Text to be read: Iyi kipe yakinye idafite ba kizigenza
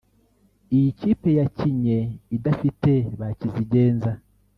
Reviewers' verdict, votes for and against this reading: rejected, 0, 2